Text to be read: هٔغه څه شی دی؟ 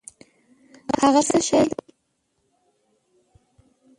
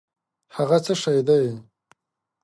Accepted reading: second